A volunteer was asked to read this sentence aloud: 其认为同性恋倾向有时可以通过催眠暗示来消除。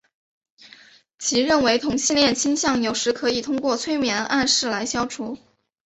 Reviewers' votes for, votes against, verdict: 3, 0, accepted